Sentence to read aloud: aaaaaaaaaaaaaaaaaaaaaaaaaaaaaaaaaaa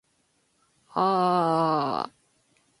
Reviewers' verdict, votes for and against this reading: accepted, 2, 1